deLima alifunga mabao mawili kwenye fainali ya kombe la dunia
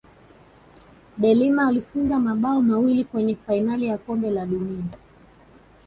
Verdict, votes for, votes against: accepted, 2, 0